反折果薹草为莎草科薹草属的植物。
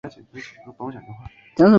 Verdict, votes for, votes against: rejected, 0, 2